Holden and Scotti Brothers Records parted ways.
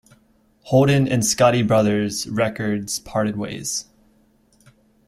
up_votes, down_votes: 2, 0